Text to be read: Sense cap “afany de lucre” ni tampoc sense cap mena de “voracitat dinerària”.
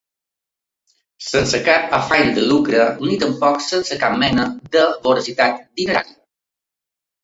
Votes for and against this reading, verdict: 2, 1, accepted